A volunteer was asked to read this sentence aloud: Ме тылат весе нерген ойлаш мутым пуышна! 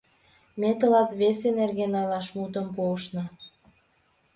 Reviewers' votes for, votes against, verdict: 2, 0, accepted